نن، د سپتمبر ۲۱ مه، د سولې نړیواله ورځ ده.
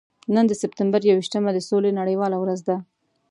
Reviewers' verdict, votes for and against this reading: rejected, 0, 2